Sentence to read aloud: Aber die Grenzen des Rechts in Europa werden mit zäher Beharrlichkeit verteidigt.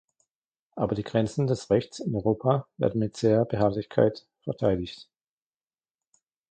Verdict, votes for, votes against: accepted, 2, 1